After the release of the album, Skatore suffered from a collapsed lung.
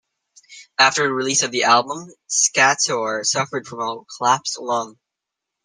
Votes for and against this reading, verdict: 1, 2, rejected